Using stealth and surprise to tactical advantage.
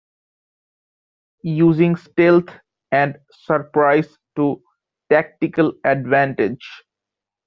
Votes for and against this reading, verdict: 2, 0, accepted